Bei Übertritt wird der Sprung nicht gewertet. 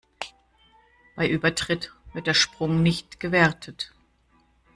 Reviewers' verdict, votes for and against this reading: accepted, 2, 0